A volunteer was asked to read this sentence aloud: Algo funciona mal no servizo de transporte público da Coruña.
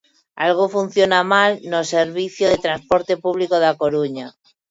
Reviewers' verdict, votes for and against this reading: rejected, 0, 2